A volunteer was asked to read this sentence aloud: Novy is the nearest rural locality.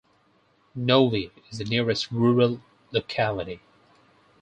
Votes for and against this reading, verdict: 4, 0, accepted